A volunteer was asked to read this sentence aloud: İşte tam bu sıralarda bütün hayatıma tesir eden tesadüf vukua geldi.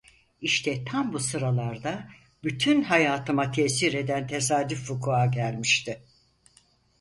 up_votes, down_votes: 0, 4